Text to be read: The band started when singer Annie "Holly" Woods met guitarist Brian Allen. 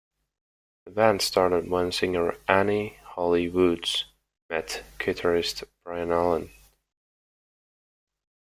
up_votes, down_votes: 2, 0